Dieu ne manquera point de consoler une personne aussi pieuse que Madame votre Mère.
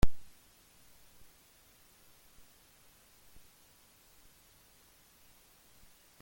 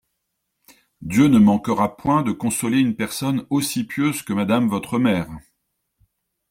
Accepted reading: second